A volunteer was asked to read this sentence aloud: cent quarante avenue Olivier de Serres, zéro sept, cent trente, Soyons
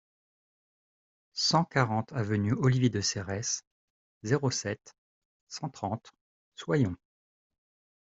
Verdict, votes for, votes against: rejected, 1, 2